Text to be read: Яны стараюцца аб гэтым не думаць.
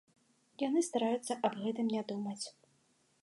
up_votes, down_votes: 2, 0